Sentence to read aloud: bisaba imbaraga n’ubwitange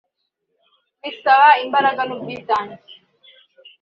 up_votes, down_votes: 2, 0